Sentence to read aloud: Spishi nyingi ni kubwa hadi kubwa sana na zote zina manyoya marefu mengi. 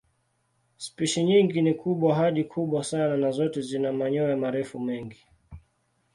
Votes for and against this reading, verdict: 2, 0, accepted